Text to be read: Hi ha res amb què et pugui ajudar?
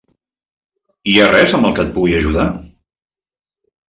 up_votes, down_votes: 1, 2